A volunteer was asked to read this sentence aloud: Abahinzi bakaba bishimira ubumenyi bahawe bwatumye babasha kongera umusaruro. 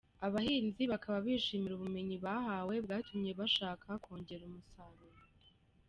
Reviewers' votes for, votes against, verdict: 0, 2, rejected